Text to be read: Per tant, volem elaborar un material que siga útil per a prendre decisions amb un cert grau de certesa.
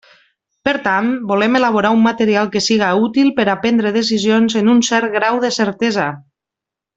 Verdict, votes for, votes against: rejected, 1, 2